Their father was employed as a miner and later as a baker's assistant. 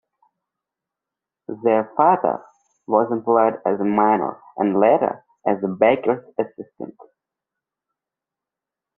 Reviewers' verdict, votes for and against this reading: accepted, 2, 0